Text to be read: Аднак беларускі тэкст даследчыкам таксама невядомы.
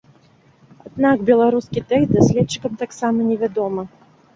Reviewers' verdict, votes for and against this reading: rejected, 1, 3